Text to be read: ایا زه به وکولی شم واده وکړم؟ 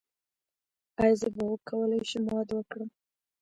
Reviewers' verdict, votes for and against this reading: rejected, 0, 2